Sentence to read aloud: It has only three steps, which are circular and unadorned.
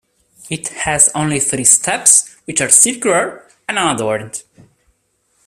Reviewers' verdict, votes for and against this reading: rejected, 0, 2